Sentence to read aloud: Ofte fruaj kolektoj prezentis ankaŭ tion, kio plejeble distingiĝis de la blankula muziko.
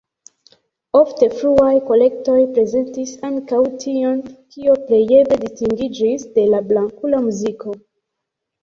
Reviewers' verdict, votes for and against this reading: accepted, 2, 0